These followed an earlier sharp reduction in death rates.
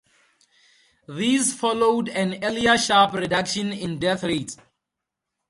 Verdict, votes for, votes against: rejected, 2, 2